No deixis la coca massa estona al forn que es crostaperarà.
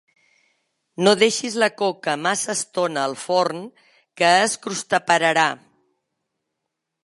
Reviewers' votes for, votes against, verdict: 4, 1, accepted